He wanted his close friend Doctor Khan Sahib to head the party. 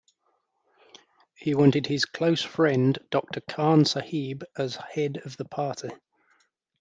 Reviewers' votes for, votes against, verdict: 1, 2, rejected